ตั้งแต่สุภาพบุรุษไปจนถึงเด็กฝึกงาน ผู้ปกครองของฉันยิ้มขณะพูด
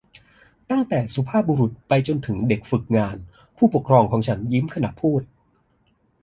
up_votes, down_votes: 2, 0